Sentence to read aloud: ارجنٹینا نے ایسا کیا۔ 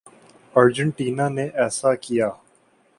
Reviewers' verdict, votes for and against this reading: accepted, 2, 0